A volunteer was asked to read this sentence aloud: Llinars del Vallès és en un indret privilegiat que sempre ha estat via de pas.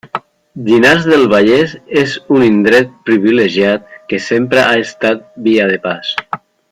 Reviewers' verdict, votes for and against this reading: rejected, 1, 2